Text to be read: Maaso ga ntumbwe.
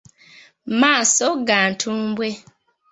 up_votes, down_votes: 2, 0